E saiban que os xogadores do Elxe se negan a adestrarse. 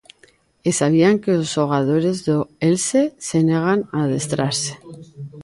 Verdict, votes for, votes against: rejected, 0, 2